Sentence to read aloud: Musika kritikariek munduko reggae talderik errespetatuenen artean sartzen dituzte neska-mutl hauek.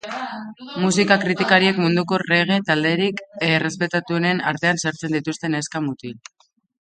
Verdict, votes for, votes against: accepted, 2, 0